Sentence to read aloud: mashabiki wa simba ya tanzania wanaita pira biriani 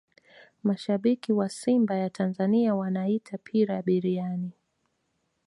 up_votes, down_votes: 3, 0